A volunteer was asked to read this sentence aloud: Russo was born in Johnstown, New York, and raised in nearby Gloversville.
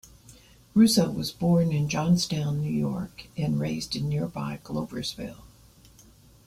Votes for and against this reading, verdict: 2, 0, accepted